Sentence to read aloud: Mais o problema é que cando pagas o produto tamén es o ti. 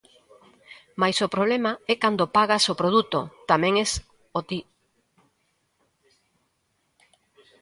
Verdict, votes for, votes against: rejected, 0, 2